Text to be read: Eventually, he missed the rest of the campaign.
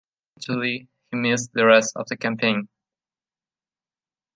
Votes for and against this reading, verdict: 0, 2, rejected